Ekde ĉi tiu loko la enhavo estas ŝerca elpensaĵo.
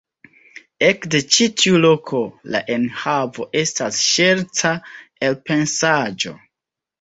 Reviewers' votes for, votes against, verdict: 2, 0, accepted